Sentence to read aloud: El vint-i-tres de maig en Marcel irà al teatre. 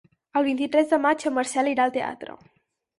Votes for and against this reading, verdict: 6, 0, accepted